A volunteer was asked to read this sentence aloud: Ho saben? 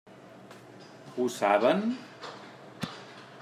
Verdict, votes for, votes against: accepted, 3, 0